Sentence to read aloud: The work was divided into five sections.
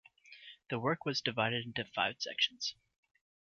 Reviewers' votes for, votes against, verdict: 2, 0, accepted